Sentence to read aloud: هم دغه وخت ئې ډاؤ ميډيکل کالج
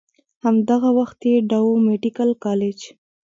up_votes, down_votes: 2, 0